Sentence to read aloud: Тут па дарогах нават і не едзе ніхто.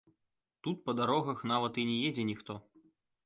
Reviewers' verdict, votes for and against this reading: accepted, 2, 0